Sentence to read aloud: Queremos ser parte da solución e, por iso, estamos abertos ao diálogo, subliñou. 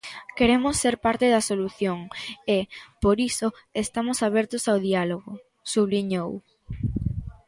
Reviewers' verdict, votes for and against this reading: accepted, 2, 0